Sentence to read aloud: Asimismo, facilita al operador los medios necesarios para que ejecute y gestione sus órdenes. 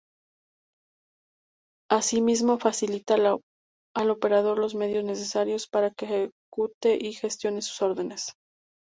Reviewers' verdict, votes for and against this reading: rejected, 0, 2